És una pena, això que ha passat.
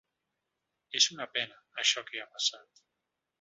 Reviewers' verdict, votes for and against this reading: accepted, 3, 0